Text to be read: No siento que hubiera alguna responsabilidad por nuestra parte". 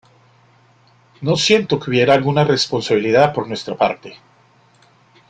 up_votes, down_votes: 2, 0